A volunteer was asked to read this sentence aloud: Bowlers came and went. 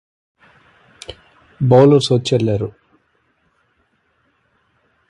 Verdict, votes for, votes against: rejected, 0, 2